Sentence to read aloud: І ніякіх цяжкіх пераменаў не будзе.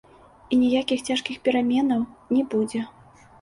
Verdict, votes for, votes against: accepted, 2, 1